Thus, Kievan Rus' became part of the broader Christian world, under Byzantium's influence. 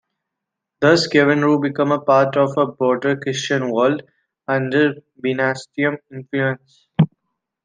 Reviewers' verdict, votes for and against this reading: rejected, 0, 2